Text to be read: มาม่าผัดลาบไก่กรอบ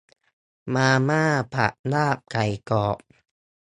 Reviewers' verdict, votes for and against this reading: accepted, 2, 0